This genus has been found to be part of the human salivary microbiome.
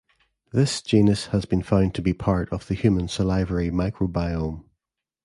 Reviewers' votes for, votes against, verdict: 2, 0, accepted